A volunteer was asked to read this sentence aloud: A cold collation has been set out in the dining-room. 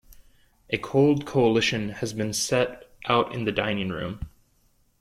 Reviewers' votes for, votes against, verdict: 0, 2, rejected